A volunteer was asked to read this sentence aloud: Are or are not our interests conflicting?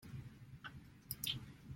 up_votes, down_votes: 0, 2